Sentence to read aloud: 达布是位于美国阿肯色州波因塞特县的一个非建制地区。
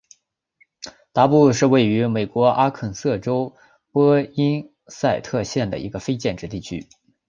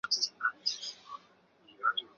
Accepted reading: first